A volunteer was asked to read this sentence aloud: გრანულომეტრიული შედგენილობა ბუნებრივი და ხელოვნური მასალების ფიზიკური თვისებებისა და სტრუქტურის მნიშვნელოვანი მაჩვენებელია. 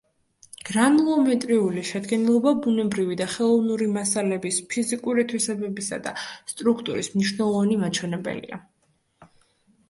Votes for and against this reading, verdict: 2, 0, accepted